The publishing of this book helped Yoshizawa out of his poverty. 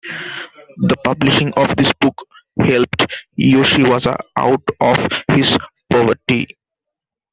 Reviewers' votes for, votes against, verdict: 0, 2, rejected